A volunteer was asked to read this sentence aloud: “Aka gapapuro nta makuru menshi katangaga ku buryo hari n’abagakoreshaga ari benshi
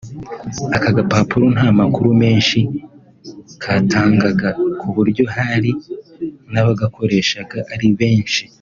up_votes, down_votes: 3, 0